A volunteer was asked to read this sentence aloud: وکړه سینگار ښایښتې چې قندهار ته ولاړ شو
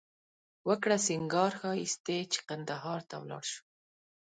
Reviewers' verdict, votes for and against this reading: accepted, 2, 0